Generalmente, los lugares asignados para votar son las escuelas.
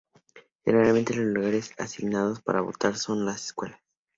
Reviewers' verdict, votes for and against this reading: accepted, 2, 0